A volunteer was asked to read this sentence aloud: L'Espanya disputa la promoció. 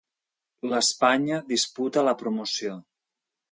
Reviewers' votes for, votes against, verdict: 1, 2, rejected